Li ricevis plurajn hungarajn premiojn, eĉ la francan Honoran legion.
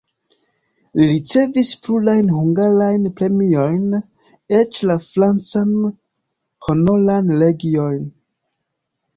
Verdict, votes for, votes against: accepted, 2, 0